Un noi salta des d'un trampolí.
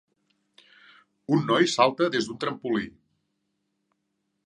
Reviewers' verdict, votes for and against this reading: accepted, 3, 0